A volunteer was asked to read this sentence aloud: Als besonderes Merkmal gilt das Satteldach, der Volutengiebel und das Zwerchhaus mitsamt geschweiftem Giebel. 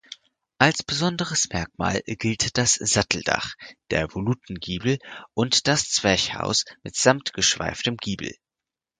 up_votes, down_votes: 4, 0